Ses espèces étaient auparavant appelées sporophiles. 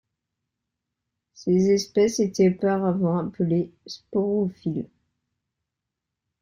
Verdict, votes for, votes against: accepted, 3, 1